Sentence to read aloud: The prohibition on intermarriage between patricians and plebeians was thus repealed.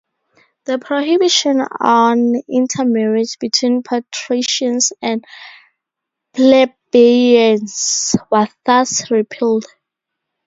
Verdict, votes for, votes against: rejected, 2, 4